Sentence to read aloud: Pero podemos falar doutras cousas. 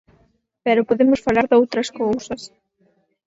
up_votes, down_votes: 4, 0